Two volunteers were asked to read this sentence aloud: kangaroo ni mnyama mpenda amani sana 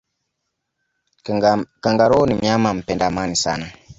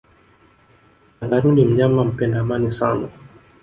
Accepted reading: second